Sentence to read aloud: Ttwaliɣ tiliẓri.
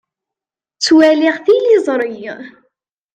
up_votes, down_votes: 2, 0